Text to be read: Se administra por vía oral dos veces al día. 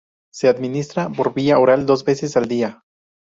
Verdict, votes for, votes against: accepted, 2, 0